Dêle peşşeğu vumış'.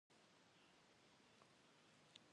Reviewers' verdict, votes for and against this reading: accepted, 2, 0